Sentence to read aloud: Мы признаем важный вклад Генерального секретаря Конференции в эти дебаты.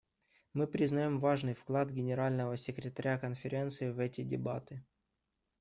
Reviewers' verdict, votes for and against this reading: accepted, 2, 0